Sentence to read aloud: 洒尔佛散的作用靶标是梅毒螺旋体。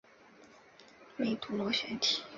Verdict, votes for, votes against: rejected, 3, 4